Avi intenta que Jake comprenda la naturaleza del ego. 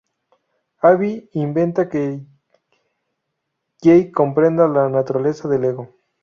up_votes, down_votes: 0, 4